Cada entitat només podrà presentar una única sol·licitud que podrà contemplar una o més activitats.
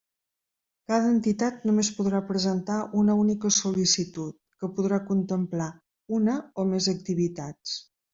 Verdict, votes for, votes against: accepted, 3, 0